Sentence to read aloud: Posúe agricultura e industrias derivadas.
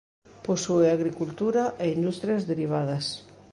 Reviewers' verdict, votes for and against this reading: accepted, 2, 0